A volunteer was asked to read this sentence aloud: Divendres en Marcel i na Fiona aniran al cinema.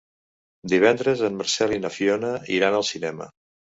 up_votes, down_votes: 0, 2